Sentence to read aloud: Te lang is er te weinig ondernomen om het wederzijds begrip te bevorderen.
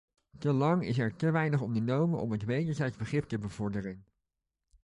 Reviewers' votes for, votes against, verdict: 2, 0, accepted